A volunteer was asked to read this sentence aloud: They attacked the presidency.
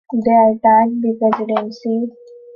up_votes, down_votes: 2, 1